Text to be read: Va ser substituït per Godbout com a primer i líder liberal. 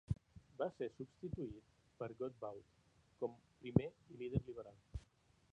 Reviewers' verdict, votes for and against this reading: rejected, 1, 2